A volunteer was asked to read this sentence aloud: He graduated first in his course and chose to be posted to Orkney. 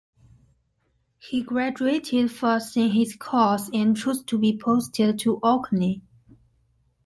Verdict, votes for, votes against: accepted, 2, 0